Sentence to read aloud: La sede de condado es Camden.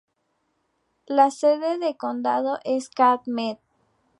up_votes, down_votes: 0, 2